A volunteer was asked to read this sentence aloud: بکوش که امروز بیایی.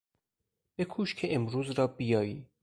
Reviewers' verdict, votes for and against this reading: rejected, 0, 4